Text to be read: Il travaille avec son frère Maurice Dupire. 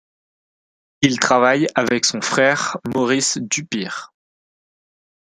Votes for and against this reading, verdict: 2, 0, accepted